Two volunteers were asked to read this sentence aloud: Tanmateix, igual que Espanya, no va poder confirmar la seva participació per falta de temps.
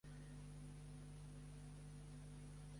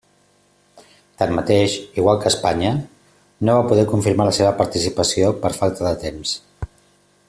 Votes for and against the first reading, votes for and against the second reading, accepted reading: 0, 2, 3, 0, second